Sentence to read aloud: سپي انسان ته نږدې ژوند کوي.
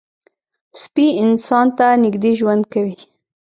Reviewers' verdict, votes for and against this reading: rejected, 0, 2